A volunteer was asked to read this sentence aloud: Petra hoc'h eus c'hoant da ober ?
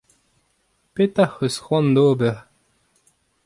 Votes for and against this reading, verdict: 2, 0, accepted